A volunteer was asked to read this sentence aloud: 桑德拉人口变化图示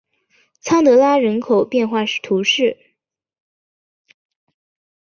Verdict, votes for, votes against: accepted, 2, 0